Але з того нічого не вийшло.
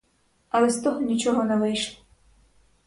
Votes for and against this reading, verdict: 4, 2, accepted